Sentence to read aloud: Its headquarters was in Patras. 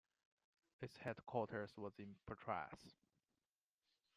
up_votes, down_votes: 2, 0